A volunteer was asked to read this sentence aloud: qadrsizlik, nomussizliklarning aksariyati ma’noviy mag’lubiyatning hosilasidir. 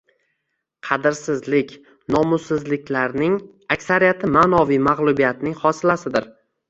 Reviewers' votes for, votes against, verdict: 0, 2, rejected